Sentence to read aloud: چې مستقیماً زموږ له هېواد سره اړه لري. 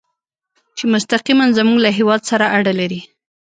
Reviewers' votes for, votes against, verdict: 2, 0, accepted